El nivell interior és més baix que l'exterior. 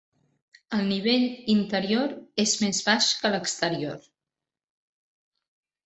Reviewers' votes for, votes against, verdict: 2, 0, accepted